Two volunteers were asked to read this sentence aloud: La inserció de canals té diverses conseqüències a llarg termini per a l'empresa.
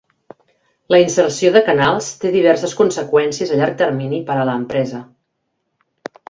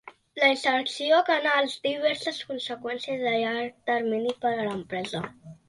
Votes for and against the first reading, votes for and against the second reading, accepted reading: 2, 0, 0, 2, first